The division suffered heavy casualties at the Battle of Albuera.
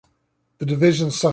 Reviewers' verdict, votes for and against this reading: rejected, 0, 2